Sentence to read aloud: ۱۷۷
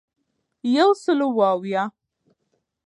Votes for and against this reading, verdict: 0, 2, rejected